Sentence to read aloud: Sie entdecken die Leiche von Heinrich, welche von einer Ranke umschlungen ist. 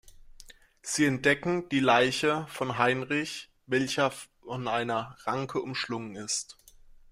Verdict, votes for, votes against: rejected, 1, 2